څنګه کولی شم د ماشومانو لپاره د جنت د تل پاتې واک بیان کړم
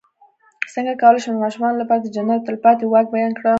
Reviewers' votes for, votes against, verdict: 0, 3, rejected